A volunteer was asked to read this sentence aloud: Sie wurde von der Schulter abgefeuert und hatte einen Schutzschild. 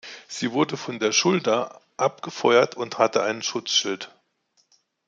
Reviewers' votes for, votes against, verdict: 2, 0, accepted